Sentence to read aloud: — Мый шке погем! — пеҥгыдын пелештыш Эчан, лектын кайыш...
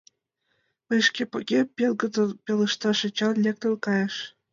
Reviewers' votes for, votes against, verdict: 2, 1, accepted